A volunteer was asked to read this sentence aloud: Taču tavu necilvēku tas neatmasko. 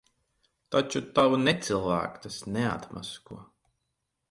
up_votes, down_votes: 4, 0